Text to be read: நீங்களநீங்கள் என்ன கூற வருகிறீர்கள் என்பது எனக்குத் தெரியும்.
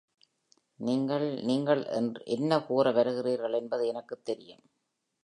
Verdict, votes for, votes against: rejected, 0, 2